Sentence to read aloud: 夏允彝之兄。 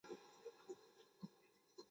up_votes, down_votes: 1, 2